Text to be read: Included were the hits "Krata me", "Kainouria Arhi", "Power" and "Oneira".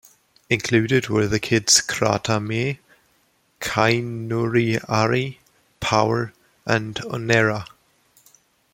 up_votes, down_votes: 2, 0